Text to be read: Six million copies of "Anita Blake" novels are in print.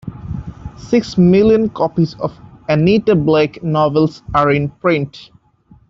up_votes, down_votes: 3, 0